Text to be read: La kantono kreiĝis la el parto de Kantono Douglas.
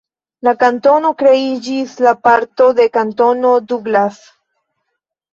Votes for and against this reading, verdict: 1, 2, rejected